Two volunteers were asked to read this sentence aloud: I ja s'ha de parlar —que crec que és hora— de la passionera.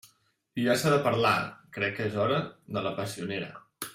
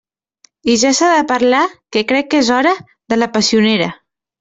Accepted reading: second